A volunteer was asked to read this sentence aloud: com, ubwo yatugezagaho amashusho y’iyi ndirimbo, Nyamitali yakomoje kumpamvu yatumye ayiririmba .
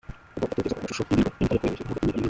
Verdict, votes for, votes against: rejected, 0, 2